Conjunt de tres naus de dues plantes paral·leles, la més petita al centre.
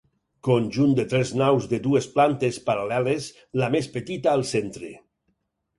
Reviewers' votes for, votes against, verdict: 4, 0, accepted